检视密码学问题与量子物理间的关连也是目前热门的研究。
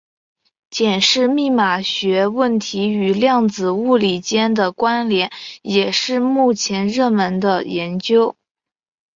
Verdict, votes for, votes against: accepted, 2, 0